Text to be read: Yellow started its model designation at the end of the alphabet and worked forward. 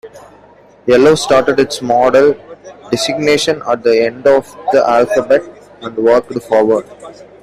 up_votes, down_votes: 2, 0